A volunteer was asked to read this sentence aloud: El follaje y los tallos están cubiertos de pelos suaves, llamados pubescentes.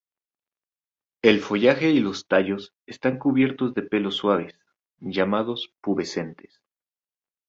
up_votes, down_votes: 0, 2